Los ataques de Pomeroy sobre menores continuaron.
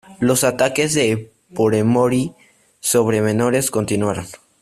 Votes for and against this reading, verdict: 1, 2, rejected